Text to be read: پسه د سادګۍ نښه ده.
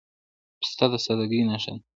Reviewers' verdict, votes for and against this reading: rejected, 0, 2